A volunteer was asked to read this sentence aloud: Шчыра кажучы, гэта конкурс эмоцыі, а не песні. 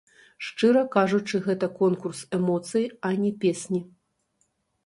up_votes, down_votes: 0, 2